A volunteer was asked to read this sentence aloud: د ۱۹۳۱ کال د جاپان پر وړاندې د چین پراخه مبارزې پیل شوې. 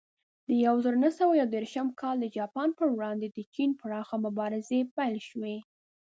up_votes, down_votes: 0, 2